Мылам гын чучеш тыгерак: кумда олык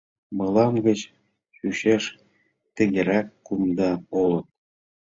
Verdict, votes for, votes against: rejected, 0, 2